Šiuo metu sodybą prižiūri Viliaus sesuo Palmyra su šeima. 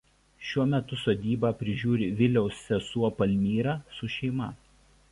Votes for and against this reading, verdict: 2, 0, accepted